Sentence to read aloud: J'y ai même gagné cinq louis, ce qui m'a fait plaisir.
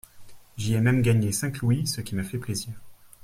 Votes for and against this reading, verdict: 2, 0, accepted